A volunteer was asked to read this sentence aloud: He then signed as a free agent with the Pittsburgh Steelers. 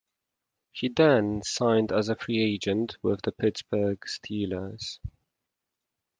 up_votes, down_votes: 2, 0